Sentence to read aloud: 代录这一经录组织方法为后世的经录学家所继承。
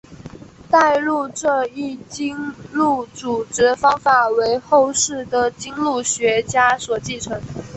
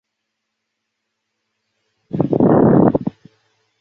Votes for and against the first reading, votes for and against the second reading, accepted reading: 3, 2, 0, 2, first